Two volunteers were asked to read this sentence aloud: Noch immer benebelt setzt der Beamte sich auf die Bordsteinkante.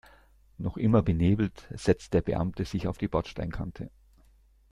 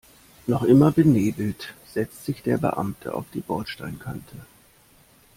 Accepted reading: first